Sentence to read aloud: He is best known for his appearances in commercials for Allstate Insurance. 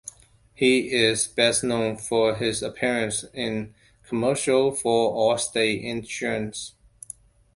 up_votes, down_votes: 0, 2